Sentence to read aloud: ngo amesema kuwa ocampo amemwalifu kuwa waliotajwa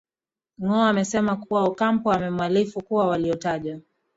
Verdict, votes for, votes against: rejected, 0, 2